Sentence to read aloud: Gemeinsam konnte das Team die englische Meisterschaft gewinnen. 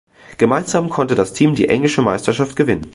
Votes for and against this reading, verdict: 2, 0, accepted